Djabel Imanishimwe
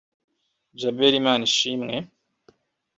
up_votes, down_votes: 1, 2